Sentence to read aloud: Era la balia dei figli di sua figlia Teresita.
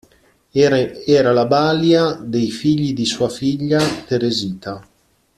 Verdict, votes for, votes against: rejected, 0, 2